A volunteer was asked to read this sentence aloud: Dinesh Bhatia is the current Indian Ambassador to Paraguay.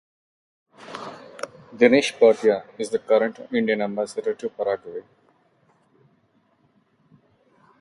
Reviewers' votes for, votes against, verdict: 2, 0, accepted